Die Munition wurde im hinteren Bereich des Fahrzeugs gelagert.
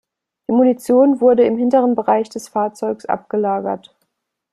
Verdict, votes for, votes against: rejected, 0, 2